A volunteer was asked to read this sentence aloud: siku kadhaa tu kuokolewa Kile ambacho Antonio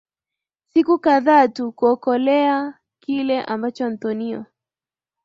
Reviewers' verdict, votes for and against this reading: accepted, 3, 0